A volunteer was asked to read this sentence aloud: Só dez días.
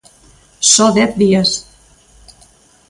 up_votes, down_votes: 2, 0